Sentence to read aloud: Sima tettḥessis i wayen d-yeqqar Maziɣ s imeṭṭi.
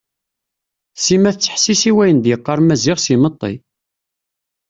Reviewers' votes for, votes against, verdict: 2, 0, accepted